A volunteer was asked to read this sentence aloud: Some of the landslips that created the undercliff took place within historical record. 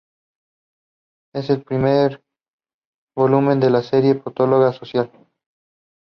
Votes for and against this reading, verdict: 0, 3, rejected